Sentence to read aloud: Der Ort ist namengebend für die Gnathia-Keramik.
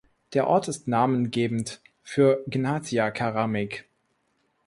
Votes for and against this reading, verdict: 0, 2, rejected